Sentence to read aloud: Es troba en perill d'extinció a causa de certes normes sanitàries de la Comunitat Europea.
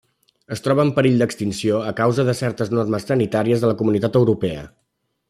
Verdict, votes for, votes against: rejected, 1, 2